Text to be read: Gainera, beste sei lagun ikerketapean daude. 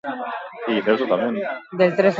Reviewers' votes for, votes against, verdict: 0, 2, rejected